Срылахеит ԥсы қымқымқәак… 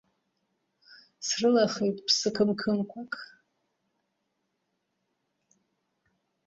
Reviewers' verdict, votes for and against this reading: rejected, 0, 2